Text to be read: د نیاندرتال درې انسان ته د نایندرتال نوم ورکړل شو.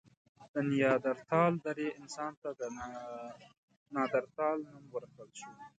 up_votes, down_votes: 2, 1